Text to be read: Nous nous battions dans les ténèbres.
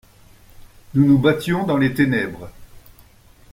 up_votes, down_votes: 2, 0